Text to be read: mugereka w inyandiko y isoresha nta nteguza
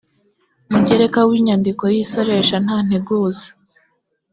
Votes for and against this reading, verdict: 2, 0, accepted